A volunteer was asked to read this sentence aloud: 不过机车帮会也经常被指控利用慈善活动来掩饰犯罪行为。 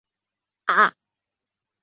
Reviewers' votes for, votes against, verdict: 0, 2, rejected